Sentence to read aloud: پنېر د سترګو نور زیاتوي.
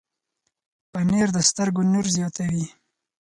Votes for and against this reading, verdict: 4, 2, accepted